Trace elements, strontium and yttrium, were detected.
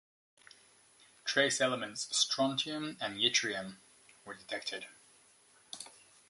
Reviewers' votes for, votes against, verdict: 2, 0, accepted